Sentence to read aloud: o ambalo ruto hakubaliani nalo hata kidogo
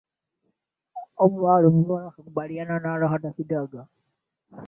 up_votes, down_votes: 0, 2